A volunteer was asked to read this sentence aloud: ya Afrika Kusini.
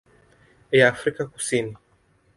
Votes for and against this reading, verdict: 3, 0, accepted